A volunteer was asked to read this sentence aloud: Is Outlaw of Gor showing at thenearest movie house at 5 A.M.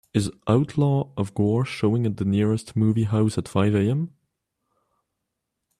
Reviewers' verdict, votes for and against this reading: rejected, 0, 2